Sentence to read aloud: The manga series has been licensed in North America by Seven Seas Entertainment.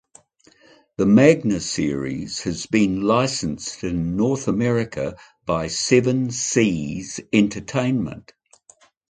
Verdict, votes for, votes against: rejected, 0, 2